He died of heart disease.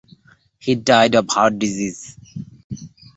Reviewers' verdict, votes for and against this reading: accepted, 2, 0